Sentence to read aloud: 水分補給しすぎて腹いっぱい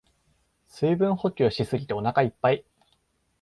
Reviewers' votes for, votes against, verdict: 0, 2, rejected